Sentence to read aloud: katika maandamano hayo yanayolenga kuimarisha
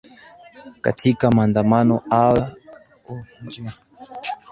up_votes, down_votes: 0, 2